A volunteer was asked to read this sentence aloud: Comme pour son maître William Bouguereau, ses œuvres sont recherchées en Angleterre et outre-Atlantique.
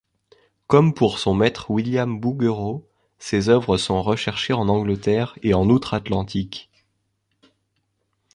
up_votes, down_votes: 0, 2